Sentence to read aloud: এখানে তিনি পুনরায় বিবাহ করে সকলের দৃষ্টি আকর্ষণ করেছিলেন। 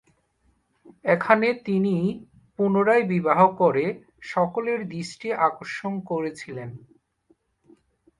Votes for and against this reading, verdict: 1, 2, rejected